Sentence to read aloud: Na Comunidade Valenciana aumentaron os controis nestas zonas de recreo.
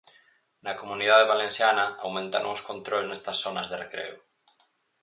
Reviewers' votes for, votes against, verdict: 4, 0, accepted